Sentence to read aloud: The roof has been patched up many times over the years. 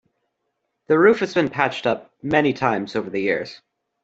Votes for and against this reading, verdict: 2, 0, accepted